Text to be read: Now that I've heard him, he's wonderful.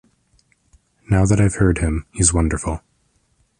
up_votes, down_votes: 2, 0